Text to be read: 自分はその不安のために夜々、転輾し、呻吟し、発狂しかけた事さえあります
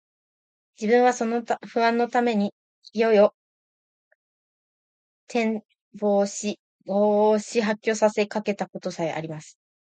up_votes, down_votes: 0, 2